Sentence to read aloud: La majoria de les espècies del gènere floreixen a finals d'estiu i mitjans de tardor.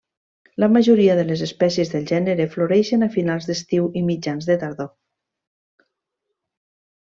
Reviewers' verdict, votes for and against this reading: accepted, 3, 0